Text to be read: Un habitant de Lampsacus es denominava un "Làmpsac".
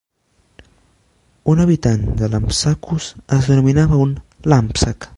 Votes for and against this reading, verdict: 2, 0, accepted